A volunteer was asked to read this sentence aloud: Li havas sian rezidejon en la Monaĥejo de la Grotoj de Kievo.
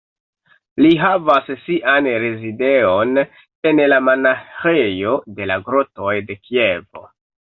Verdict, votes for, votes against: rejected, 1, 2